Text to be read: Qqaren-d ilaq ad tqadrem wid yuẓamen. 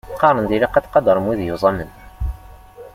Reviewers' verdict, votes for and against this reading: accepted, 2, 0